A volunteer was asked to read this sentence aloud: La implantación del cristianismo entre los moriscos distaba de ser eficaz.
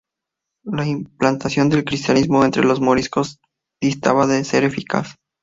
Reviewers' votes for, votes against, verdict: 2, 0, accepted